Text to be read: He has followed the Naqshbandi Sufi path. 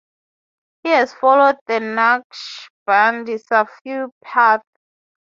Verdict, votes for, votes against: rejected, 0, 3